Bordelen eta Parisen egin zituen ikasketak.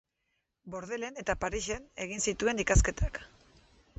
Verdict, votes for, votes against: rejected, 0, 2